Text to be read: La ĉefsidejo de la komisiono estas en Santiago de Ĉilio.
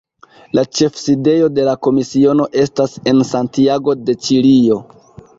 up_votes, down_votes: 2, 0